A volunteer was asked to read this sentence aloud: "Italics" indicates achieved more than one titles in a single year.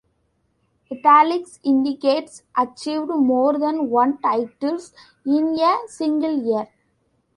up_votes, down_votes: 0, 2